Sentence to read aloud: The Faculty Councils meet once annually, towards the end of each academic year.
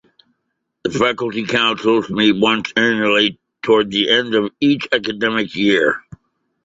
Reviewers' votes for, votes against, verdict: 2, 1, accepted